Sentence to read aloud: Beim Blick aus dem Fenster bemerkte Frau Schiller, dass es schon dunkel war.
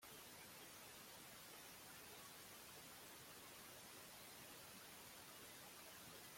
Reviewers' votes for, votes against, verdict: 0, 2, rejected